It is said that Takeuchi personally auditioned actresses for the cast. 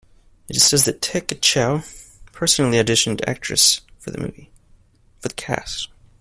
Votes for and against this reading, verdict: 1, 2, rejected